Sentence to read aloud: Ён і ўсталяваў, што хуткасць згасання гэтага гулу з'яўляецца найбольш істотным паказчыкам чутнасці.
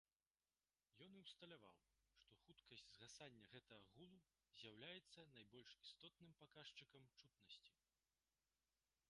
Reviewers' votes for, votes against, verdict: 2, 1, accepted